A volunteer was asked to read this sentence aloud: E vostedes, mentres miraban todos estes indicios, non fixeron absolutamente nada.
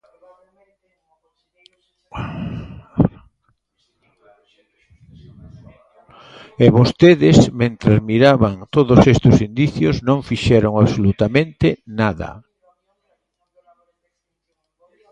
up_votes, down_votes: 0, 2